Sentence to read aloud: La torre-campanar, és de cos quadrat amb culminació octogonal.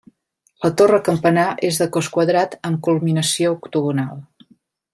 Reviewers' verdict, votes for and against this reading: accepted, 2, 0